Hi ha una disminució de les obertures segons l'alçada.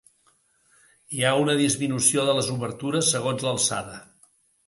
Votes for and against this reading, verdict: 2, 0, accepted